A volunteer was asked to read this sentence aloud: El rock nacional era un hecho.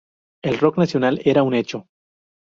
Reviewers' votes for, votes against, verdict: 2, 0, accepted